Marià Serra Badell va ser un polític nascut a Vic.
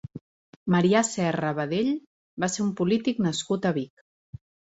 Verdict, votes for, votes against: accepted, 3, 0